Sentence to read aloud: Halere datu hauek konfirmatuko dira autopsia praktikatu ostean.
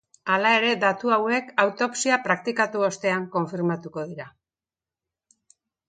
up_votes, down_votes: 0, 2